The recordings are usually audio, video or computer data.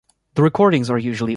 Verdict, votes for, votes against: rejected, 0, 2